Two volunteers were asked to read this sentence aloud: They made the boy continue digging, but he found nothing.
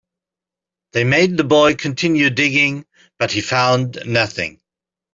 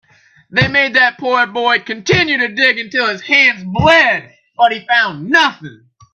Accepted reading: first